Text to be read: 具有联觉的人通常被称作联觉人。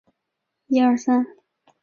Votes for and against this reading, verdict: 0, 3, rejected